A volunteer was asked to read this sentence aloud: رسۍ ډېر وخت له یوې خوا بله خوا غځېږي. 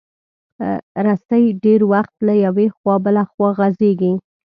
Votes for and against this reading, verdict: 2, 0, accepted